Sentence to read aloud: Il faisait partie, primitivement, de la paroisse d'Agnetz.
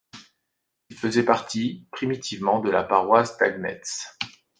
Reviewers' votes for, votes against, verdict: 1, 2, rejected